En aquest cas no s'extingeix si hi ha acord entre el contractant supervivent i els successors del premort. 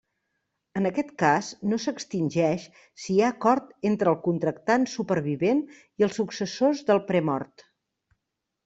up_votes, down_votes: 2, 0